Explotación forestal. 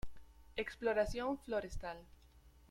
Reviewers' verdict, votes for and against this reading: rejected, 1, 2